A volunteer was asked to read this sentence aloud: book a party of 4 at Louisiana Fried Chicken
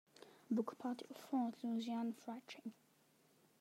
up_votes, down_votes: 0, 2